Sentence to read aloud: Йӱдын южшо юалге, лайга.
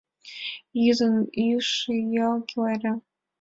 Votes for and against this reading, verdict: 1, 2, rejected